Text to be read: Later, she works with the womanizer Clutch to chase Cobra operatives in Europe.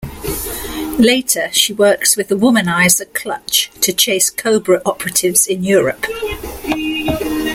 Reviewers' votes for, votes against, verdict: 2, 0, accepted